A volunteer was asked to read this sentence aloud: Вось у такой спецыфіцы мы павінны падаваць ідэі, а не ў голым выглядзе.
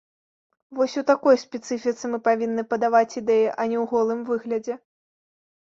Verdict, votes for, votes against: accepted, 2, 0